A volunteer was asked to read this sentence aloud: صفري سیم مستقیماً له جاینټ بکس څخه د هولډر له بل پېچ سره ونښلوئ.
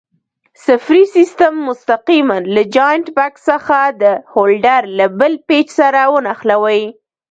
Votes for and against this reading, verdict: 1, 2, rejected